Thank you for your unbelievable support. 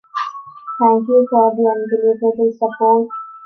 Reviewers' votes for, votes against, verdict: 2, 1, accepted